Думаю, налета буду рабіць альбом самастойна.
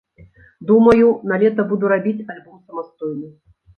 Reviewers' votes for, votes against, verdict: 1, 2, rejected